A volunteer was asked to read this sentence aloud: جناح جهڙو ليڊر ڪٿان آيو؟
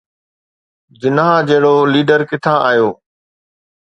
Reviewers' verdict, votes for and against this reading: accepted, 2, 0